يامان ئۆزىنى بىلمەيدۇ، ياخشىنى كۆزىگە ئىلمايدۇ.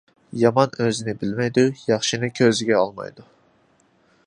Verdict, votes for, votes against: accepted, 2, 0